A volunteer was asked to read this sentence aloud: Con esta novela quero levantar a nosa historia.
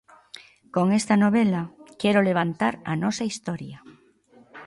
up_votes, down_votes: 2, 0